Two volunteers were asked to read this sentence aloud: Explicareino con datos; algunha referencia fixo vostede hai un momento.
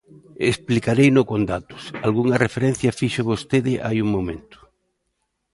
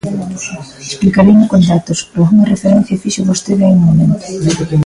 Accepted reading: first